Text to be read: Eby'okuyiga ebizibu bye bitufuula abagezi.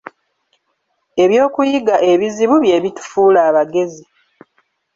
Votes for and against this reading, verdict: 2, 0, accepted